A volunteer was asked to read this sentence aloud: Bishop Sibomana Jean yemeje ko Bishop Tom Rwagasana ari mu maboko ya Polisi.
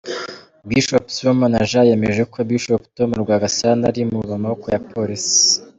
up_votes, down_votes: 0, 3